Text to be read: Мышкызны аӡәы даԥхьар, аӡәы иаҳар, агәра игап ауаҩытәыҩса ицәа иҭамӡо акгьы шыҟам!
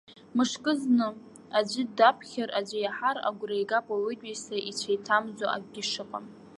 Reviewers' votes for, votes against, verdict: 2, 0, accepted